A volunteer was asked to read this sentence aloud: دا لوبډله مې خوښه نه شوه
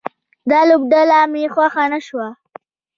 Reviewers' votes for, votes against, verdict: 1, 2, rejected